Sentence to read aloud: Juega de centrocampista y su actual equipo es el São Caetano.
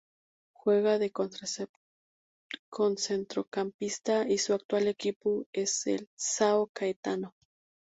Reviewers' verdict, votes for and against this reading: rejected, 0, 2